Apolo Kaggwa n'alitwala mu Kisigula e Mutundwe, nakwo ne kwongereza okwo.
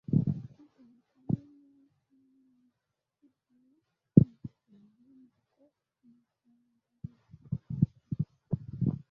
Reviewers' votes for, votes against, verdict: 0, 2, rejected